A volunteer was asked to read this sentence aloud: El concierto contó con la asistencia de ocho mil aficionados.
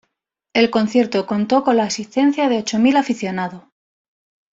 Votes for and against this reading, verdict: 0, 2, rejected